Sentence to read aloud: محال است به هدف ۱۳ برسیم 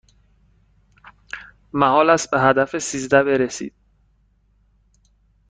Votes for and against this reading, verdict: 0, 2, rejected